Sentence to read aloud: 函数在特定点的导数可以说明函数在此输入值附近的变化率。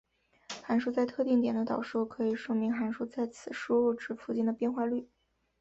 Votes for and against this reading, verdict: 4, 0, accepted